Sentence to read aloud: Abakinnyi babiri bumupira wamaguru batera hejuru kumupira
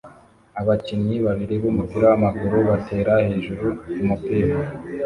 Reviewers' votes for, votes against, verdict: 2, 0, accepted